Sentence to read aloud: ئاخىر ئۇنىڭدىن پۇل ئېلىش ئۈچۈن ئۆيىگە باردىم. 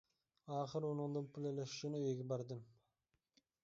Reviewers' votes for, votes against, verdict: 0, 2, rejected